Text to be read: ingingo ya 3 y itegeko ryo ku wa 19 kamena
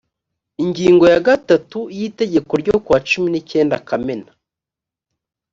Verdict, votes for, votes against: rejected, 0, 2